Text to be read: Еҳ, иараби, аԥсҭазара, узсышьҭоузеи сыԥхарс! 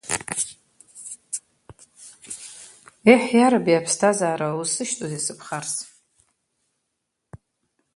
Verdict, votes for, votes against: rejected, 0, 2